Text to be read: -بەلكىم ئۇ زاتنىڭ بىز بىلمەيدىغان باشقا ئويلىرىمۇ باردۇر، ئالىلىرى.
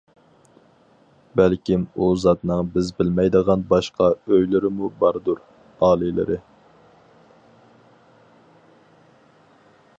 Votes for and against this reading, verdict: 2, 2, rejected